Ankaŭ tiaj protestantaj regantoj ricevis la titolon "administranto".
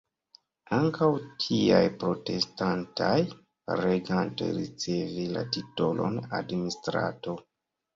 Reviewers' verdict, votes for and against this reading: rejected, 0, 2